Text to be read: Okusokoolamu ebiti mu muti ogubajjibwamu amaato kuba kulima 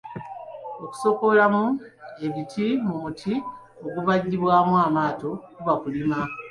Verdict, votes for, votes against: accepted, 2, 1